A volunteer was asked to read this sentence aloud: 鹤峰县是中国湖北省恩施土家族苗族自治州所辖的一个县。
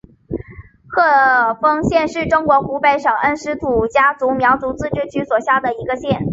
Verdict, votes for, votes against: rejected, 0, 2